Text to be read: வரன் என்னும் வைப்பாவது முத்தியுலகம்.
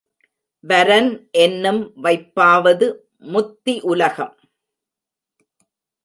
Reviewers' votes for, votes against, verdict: 2, 0, accepted